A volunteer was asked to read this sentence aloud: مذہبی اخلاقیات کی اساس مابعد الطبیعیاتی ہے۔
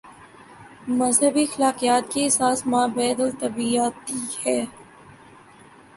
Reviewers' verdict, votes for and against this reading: rejected, 1, 2